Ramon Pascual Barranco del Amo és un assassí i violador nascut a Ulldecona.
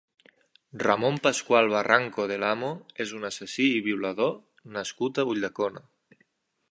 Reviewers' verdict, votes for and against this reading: accepted, 3, 0